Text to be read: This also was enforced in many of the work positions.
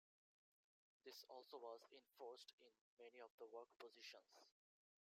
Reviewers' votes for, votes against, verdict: 1, 2, rejected